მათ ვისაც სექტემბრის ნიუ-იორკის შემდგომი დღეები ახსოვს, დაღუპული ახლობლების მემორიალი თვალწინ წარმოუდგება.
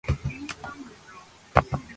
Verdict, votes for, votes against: rejected, 0, 2